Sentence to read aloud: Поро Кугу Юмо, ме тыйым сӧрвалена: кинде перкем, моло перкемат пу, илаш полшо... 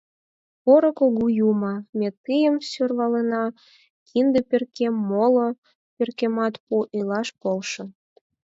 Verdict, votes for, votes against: accepted, 4, 0